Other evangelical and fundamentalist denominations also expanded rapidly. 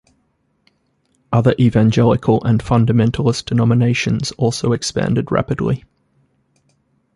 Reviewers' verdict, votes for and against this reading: accepted, 3, 0